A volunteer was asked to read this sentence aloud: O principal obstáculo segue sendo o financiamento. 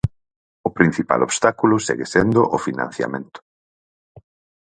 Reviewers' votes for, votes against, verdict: 4, 0, accepted